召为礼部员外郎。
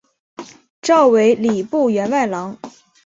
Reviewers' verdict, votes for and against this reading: accepted, 2, 0